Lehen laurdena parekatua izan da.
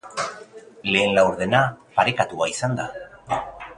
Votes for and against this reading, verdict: 2, 4, rejected